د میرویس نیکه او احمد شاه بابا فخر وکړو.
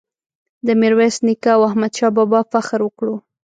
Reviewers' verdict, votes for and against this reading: accepted, 2, 1